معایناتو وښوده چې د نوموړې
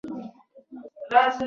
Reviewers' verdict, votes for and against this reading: rejected, 1, 2